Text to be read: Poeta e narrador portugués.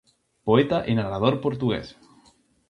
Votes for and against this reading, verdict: 2, 0, accepted